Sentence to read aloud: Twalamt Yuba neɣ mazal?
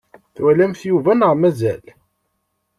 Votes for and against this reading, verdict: 2, 0, accepted